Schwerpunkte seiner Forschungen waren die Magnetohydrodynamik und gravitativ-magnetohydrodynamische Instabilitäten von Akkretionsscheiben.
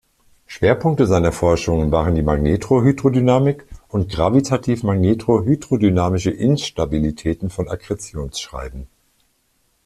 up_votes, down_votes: 0, 2